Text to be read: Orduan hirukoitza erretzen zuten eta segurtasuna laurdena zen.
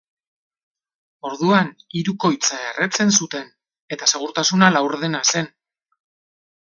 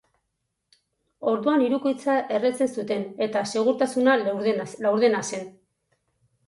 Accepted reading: first